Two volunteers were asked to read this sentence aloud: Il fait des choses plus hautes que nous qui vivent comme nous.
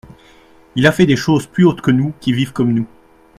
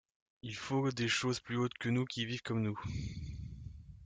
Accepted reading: first